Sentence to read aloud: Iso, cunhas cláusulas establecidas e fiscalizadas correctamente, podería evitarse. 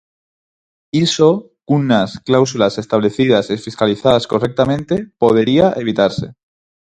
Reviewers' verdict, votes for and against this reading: rejected, 0, 4